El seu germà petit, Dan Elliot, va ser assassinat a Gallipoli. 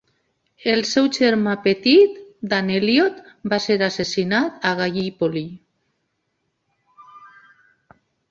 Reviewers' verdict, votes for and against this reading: rejected, 1, 2